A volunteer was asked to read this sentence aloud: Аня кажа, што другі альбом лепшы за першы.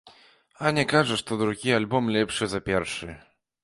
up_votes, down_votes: 2, 0